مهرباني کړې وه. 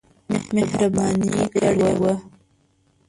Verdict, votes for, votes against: rejected, 1, 2